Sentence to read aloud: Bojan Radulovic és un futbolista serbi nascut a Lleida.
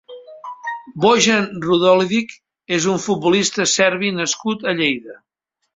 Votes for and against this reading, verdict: 1, 2, rejected